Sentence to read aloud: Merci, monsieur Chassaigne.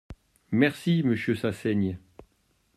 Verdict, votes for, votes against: rejected, 0, 2